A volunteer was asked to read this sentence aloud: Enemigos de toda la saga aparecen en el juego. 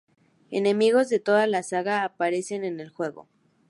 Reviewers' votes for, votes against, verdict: 2, 0, accepted